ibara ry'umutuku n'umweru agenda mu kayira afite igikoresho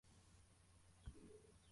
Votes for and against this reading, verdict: 0, 2, rejected